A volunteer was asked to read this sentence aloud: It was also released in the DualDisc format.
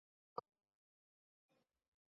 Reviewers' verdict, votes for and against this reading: rejected, 0, 2